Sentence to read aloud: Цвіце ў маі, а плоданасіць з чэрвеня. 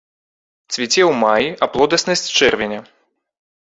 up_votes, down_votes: 0, 2